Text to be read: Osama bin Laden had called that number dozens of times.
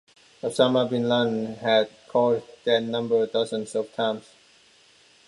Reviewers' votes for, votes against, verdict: 2, 0, accepted